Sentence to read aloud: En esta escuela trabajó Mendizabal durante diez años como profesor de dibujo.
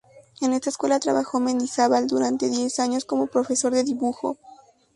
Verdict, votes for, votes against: accepted, 2, 0